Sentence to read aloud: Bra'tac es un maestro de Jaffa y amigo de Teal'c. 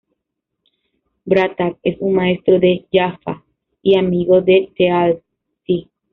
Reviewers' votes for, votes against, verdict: 0, 2, rejected